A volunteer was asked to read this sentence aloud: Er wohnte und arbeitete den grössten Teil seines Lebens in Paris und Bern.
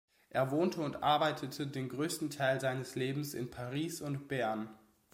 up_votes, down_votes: 2, 0